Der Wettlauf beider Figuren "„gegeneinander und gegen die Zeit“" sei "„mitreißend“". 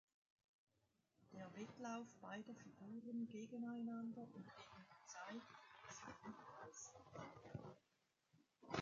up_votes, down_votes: 0, 2